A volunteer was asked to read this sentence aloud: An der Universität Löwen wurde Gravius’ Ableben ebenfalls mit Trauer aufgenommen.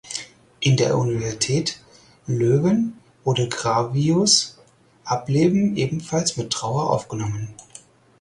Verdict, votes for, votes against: rejected, 0, 4